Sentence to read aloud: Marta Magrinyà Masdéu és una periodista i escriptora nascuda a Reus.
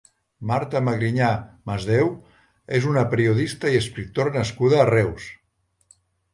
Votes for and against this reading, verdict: 2, 0, accepted